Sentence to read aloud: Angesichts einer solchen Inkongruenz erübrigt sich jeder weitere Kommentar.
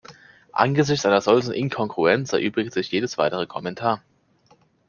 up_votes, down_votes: 0, 2